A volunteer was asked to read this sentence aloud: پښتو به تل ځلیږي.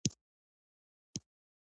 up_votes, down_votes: 1, 2